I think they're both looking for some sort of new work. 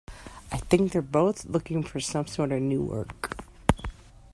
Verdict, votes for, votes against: accepted, 2, 0